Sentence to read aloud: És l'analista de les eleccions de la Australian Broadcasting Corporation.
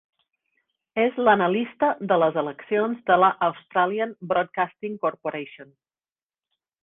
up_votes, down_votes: 3, 0